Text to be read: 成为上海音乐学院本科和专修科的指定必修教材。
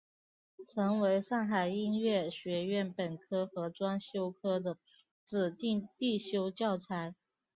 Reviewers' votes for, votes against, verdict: 3, 0, accepted